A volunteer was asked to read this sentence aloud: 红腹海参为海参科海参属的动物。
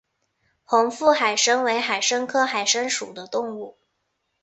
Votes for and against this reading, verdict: 3, 0, accepted